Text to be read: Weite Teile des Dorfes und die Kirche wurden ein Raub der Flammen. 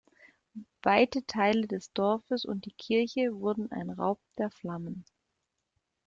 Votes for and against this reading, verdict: 2, 0, accepted